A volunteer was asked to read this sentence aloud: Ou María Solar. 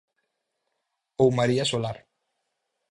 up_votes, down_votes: 4, 0